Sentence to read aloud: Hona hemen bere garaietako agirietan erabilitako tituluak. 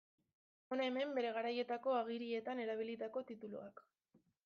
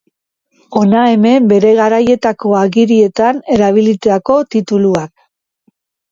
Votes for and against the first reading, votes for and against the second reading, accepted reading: 0, 2, 2, 0, second